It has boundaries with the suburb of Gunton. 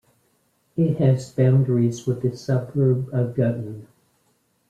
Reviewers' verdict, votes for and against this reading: accepted, 2, 0